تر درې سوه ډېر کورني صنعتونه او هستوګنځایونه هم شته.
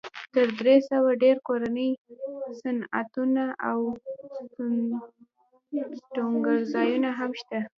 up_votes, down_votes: 1, 2